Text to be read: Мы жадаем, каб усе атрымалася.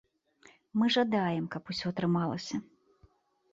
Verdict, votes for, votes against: accepted, 2, 0